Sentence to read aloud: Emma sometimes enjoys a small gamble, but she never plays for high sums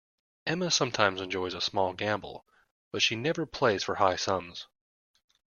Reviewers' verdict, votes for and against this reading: accepted, 2, 0